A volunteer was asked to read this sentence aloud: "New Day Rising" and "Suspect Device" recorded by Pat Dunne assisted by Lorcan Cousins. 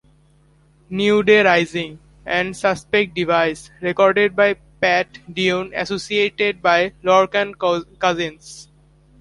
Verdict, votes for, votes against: rejected, 0, 2